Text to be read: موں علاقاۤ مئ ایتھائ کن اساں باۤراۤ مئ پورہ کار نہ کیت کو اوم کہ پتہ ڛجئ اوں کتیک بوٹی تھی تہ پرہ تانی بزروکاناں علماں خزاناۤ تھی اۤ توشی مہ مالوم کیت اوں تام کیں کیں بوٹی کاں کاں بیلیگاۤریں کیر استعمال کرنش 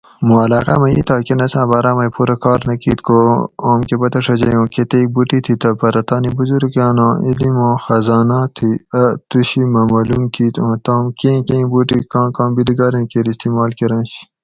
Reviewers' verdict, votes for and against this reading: accepted, 4, 0